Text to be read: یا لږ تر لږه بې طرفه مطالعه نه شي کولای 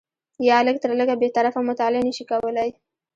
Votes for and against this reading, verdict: 0, 2, rejected